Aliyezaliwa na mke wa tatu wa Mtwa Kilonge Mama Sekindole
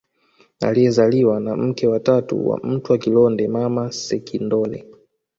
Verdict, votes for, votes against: accepted, 2, 0